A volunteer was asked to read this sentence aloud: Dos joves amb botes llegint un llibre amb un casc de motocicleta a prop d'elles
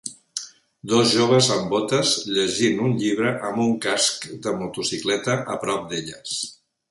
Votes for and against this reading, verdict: 4, 0, accepted